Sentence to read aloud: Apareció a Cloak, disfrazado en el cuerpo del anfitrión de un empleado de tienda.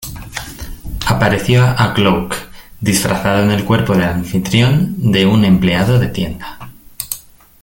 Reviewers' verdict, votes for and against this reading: rejected, 1, 2